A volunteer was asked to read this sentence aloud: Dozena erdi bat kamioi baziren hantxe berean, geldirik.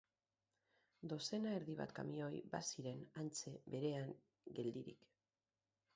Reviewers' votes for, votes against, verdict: 2, 4, rejected